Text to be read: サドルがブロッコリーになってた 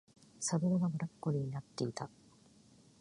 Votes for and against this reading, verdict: 2, 0, accepted